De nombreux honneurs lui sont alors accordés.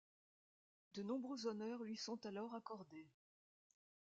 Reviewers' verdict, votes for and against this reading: accepted, 2, 0